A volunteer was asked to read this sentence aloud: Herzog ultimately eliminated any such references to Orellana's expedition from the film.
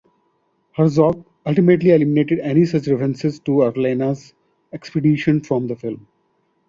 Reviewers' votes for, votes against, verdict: 2, 0, accepted